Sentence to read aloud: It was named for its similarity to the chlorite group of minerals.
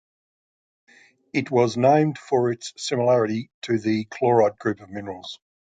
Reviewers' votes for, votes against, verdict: 2, 0, accepted